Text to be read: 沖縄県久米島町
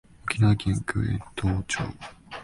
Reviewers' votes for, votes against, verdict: 3, 4, rejected